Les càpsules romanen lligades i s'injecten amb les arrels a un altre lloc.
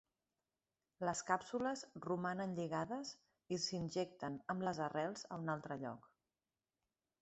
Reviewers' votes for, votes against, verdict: 3, 1, accepted